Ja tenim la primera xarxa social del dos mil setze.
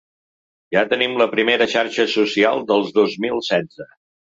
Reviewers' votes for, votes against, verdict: 0, 2, rejected